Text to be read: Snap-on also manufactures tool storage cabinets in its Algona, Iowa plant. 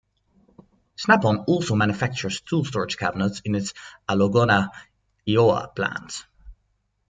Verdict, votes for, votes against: rejected, 1, 2